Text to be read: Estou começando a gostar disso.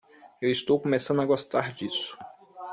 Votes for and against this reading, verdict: 0, 2, rejected